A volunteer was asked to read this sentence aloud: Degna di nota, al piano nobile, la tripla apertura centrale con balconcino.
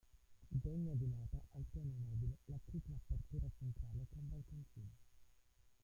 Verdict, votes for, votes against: rejected, 0, 2